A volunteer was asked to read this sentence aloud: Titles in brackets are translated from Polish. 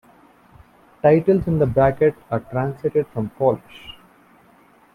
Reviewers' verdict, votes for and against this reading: rejected, 0, 2